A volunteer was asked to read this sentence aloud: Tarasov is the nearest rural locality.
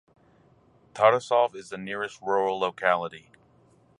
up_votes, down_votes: 4, 0